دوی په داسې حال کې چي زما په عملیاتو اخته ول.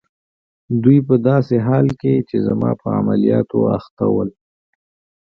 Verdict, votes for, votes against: accepted, 2, 0